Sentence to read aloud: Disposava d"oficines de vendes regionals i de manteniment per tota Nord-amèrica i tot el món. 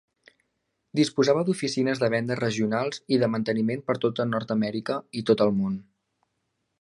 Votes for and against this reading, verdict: 2, 0, accepted